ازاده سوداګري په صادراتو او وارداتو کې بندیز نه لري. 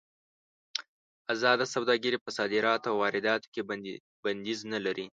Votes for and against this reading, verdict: 2, 0, accepted